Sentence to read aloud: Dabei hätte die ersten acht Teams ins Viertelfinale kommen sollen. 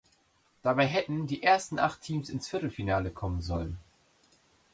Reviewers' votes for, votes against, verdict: 0, 2, rejected